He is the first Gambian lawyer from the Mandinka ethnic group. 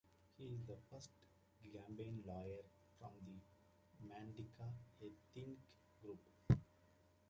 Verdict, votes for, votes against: accepted, 2, 1